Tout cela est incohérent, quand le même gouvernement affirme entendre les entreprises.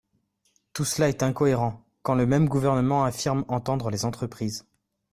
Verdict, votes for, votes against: accepted, 2, 0